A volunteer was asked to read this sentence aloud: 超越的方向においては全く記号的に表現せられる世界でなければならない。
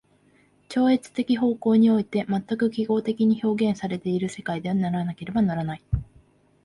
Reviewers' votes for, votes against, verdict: 2, 1, accepted